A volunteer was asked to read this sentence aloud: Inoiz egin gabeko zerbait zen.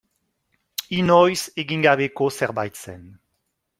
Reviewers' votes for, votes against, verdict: 1, 3, rejected